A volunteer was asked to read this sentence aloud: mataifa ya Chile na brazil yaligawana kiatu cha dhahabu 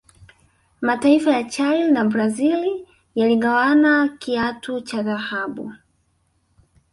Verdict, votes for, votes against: rejected, 0, 2